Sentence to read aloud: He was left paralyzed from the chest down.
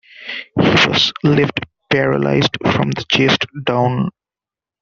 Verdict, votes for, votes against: rejected, 0, 2